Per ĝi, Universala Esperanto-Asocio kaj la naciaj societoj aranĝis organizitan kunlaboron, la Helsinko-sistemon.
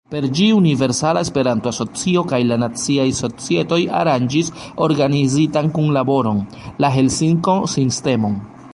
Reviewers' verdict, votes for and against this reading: rejected, 0, 2